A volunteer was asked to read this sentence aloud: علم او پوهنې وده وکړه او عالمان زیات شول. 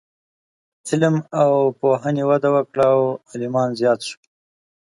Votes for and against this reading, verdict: 2, 0, accepted